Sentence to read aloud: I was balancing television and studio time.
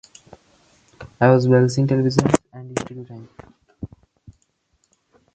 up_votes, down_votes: 0, 2